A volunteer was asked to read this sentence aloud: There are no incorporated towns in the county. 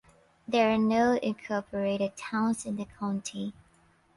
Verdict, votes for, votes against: accepted, 2, 0